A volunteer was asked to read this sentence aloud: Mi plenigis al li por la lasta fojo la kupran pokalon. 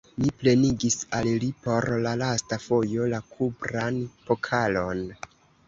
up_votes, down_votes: 1, 2